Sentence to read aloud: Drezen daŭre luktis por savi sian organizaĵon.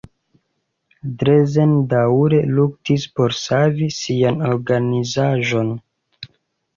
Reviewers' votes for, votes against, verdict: 2, 0, accepted